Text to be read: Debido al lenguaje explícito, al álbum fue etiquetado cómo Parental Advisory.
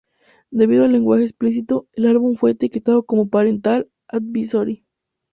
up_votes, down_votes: 0, 2